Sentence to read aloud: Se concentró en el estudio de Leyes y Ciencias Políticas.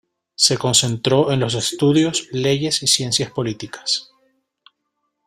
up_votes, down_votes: 1, 2